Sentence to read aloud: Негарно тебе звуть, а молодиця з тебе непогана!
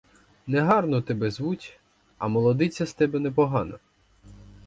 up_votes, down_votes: 4, 0